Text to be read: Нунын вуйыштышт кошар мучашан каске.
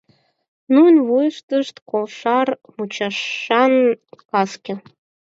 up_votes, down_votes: 4, 0